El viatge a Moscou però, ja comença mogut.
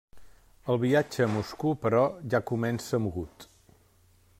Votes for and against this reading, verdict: 0, 2, rejected